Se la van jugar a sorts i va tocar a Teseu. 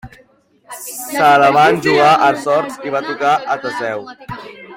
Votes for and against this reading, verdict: 2, 1, accepted